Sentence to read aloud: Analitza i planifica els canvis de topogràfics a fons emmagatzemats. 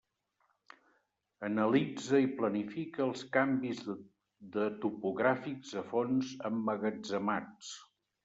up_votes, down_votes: 1, 3